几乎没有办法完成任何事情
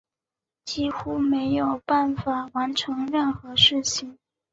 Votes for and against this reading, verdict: 2, 0, accepted